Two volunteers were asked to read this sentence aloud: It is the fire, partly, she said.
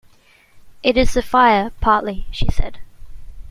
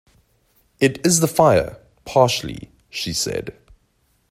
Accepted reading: first